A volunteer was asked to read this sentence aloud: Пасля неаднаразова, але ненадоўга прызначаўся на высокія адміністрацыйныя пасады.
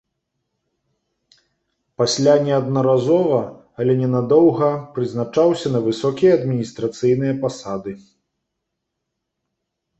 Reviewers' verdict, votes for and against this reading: accepted, 2, 0